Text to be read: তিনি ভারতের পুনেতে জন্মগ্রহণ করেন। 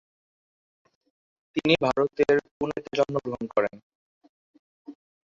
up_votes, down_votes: 1, 3